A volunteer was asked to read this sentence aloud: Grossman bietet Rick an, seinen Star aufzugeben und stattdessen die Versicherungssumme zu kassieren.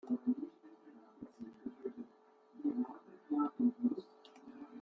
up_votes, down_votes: 0, 2